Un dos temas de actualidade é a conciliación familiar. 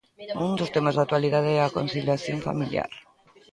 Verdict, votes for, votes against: rejected, 1, 2